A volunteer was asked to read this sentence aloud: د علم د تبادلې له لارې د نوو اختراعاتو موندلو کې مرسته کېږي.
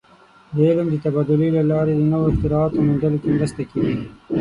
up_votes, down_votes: 0, 9